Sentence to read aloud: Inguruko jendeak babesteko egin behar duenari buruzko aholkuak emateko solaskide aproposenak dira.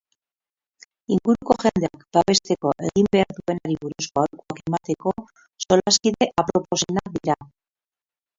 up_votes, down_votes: 2, 8